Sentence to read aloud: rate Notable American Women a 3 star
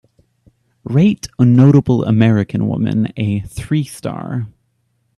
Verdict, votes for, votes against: rejected, 0, 2